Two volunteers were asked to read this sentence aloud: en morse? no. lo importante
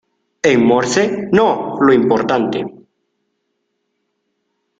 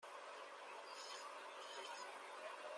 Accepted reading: first